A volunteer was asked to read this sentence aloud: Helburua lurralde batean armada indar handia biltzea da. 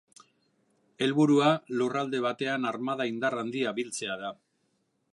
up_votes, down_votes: 2, 0